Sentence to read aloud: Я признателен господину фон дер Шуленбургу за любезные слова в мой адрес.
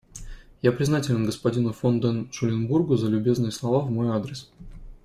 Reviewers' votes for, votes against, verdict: 0, 2, rejected